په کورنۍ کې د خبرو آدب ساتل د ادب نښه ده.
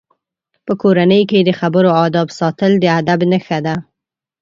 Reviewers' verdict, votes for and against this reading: accepted, 2, 0